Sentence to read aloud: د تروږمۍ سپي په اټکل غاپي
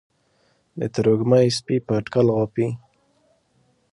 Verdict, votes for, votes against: accepted, 2, 0